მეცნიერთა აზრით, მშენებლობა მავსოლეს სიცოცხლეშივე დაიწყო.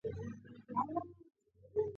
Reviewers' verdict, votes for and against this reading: rejected, 0, 2